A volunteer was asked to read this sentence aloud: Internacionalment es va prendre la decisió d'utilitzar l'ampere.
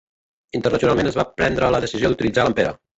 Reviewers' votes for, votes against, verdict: 0, 2, rejected